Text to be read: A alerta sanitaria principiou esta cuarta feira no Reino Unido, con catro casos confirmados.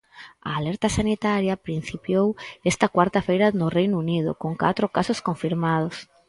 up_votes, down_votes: 4, 0